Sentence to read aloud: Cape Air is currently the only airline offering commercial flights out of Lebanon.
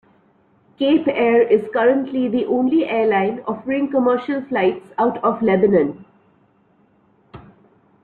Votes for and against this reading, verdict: 3, 1, accepted